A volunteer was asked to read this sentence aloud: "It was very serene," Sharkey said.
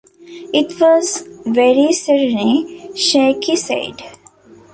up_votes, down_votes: 0, 2